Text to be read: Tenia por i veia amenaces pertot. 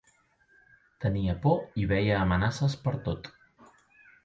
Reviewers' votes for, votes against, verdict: 2, 0, accepted